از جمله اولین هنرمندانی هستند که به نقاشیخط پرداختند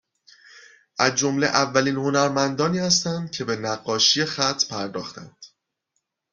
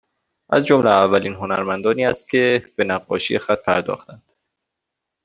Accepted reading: first